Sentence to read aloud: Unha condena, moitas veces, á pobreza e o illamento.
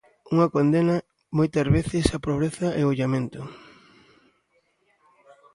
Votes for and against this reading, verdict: 2, 0, accepted